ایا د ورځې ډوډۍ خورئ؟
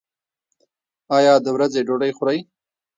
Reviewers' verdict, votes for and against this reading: rejected, 1, 2